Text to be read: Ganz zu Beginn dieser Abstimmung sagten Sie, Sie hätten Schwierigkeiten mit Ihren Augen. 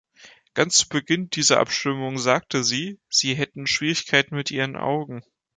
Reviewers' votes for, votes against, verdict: 1, 2, rejected